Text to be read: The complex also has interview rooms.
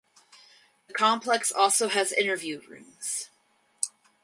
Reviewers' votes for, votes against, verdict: 4, 0, accepted